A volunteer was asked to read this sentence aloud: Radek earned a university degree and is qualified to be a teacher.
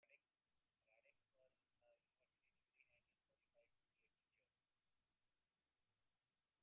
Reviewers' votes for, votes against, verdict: 0, 2, rejected